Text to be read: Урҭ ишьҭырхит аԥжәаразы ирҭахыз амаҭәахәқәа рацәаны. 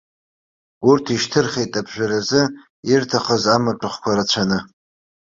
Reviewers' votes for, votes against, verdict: 2, 0, accepted